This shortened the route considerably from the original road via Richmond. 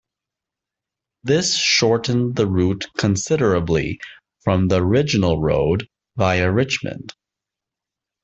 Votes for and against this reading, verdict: 2, 0, accepted